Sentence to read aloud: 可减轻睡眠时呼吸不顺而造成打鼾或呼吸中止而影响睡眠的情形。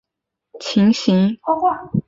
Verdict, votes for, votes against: rejected, 0, 2